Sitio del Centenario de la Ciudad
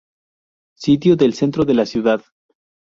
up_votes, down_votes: 0, 2